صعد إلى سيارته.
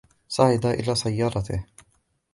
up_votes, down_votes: 2, 0